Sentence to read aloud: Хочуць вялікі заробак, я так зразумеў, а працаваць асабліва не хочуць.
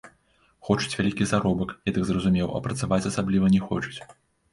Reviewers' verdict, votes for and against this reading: accepted, 2, 1